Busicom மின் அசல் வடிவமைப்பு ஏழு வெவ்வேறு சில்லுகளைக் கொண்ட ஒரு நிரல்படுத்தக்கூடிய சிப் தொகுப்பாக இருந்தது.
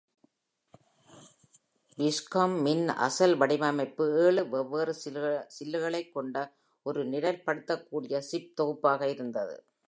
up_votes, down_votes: 2, 0